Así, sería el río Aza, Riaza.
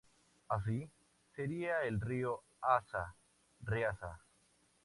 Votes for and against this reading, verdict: 2, 0, accepted